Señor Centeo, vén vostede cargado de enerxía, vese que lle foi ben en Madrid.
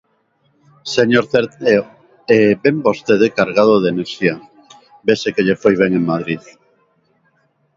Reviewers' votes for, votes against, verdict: 0, 2, rejected